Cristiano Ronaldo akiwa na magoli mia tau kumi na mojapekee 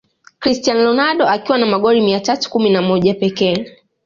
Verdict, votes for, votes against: accepted, 2, 0